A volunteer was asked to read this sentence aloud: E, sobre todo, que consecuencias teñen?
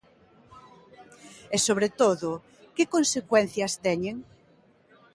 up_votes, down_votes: 2, 0